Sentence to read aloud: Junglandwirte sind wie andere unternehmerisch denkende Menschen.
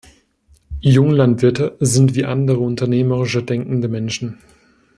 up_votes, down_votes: 1, 2